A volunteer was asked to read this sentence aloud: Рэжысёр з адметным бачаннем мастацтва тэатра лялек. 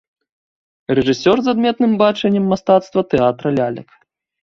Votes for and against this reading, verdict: 2, 0, accepted